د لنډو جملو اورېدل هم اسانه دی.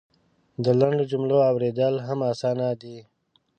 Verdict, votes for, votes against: accepted, 8, 0